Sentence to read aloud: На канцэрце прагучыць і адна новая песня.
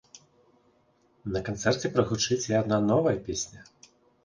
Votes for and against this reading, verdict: 4, 0, accepted